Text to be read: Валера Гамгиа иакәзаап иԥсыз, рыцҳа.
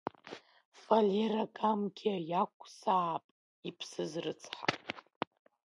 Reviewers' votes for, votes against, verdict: 1, 2, rejected